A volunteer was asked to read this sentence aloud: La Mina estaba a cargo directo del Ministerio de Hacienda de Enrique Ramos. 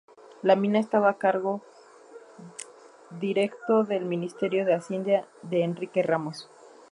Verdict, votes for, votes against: accepted, 2, 0